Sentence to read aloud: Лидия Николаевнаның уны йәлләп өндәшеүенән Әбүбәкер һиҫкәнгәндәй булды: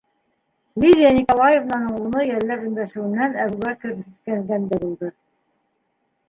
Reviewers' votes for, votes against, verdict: 1, 2, rejected